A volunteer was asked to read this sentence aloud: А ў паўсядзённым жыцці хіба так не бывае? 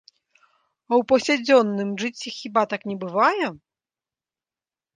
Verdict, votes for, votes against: accepted, 2, 0